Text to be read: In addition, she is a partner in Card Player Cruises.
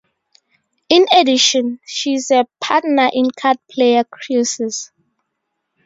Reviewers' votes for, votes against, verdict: 2, 0, accepted